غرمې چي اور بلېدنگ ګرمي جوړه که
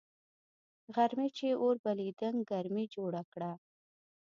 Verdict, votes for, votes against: rejected, 1, 2